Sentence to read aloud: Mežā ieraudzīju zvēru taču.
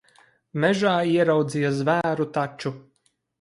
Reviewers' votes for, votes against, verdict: 0, 4, rejected